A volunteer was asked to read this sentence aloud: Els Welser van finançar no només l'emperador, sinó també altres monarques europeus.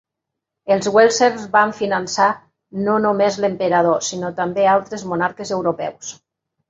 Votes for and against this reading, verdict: 2, 0, accepted